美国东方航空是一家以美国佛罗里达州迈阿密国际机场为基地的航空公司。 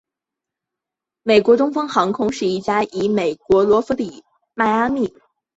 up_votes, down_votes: 3, 1